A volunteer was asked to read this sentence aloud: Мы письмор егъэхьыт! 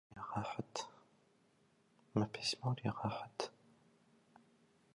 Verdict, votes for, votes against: rejected, 0, 2